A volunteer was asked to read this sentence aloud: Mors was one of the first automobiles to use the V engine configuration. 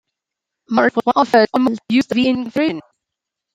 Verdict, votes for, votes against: rejected, 1, 2